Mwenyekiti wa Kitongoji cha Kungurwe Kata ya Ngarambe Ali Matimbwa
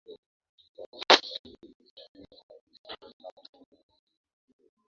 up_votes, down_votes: 0, 3